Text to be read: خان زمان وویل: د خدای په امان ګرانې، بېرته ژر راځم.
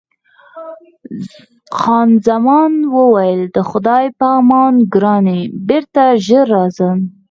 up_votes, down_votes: 4, 0